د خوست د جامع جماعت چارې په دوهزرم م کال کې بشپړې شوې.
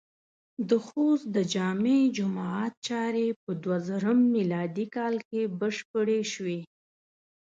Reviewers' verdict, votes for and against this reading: accepted, 8, 0